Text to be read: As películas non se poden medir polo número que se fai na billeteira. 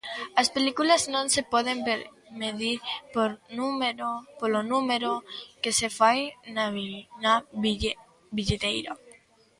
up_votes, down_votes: 0, 2